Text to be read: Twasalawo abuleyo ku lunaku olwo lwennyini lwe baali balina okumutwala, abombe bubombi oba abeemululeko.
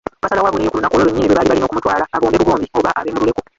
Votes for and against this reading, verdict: 1, 2, rejected